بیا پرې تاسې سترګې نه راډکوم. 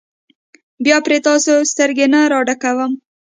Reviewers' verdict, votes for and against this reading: accepted, 2, 0